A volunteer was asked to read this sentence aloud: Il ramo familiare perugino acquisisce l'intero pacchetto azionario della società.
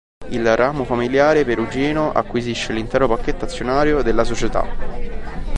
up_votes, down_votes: 2, 0